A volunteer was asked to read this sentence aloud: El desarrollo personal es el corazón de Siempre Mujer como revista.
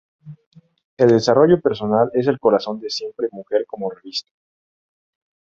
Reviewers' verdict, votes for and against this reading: accepted, 2, 0